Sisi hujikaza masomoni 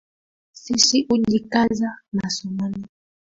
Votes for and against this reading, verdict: 2, 1, accepted